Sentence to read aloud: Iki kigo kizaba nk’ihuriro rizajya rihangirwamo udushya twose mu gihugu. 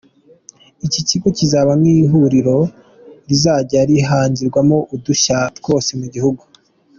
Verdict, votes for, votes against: accepted, 2, 0